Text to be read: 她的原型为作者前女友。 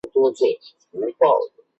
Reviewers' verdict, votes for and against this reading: rejected, 0, 5